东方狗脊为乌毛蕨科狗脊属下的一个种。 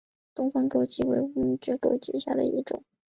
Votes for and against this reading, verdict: 2, 1, accepted